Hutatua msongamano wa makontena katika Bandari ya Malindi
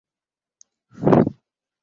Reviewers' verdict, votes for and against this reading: rejected, 0, 2